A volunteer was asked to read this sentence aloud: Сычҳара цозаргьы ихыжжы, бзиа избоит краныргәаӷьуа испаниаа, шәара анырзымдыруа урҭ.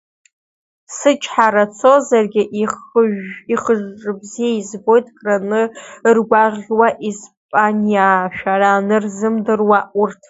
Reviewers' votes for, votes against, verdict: 1, 2, rejected